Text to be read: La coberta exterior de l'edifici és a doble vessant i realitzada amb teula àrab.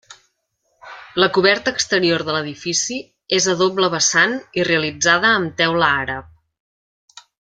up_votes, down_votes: 3, 0